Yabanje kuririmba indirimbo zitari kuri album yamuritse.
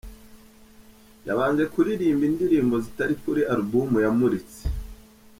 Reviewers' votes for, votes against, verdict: 2, 0, accepted